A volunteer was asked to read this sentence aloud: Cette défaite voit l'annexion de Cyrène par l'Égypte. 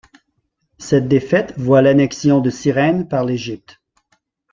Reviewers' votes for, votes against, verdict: 2, 1, accepted